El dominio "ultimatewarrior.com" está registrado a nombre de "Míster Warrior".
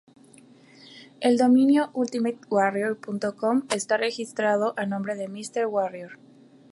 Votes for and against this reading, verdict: 2, 0, accepted